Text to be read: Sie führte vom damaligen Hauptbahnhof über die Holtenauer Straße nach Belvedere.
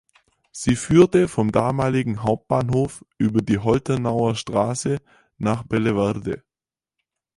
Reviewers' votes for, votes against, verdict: 0, 6, rejected